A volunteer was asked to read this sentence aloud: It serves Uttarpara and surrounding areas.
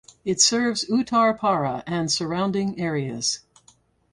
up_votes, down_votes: 4, 0